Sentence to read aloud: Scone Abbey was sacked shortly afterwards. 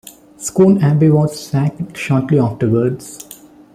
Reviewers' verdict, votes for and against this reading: rejected, 1, 2